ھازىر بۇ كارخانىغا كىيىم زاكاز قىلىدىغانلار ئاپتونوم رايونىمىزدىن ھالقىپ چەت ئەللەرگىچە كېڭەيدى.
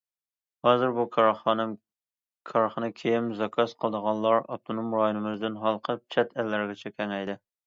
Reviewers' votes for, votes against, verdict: 0, 2, rejected